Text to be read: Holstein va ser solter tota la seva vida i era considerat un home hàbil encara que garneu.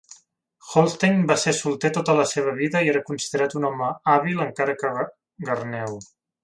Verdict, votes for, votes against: rejected, 0, 3